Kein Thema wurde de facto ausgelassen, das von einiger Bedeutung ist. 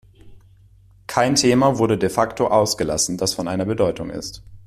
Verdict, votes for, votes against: rejected, 0, 2